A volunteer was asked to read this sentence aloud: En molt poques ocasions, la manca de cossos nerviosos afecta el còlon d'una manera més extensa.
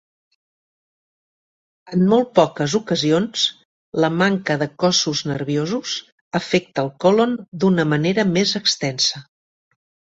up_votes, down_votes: 3, 0